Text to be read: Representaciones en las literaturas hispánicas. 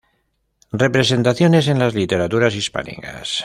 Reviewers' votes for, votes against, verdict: 2, 0, accepted